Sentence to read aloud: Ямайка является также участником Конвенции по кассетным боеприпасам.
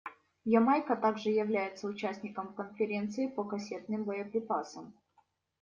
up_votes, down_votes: 1, 2